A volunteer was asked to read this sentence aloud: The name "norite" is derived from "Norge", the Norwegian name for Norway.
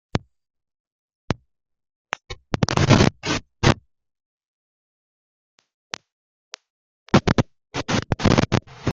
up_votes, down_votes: 0, 2